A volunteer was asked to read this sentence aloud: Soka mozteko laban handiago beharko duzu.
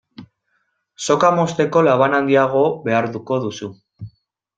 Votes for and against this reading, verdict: 0, 2, rejected